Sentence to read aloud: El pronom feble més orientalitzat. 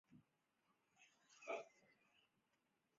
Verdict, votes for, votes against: rejected, 0, 5